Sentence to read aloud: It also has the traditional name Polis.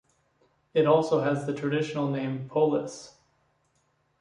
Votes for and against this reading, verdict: 2, 1, accepted